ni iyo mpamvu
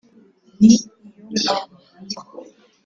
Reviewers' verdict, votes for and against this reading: rejected, 0, 2